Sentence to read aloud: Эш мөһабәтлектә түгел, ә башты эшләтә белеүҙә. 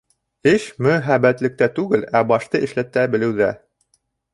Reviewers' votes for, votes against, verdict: 1, 2, rejected